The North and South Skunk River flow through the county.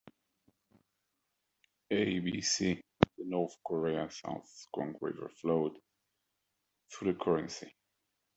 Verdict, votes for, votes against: rejected, 0, 2